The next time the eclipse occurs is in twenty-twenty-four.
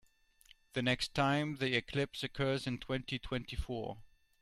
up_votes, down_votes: 0, 2